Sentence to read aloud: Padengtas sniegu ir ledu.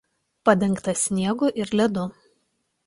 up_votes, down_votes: 2, 0